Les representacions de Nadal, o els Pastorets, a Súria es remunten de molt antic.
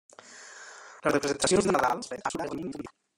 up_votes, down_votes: 0, 2